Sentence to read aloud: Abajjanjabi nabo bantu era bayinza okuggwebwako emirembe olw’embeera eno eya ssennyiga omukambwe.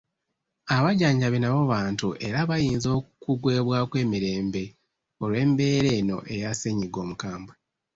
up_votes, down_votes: 1, 2